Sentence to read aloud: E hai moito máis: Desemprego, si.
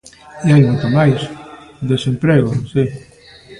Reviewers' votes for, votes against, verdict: 1, 2, rejected